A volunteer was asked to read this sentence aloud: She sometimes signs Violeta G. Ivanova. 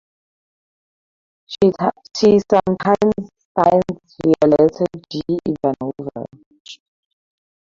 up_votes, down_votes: 2, 2